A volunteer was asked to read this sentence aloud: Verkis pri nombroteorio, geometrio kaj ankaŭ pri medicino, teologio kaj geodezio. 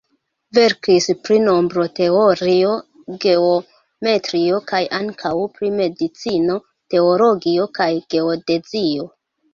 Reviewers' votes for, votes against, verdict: 1, 2, rejected